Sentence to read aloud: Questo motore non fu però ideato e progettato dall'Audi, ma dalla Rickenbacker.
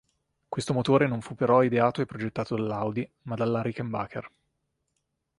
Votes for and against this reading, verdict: 3, 0, accepted